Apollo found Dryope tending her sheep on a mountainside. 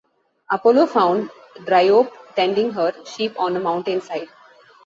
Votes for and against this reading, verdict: 2, 0, accepted